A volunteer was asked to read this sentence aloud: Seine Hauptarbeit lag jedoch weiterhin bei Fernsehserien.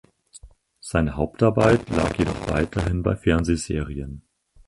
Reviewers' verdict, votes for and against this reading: rejected, 0, 4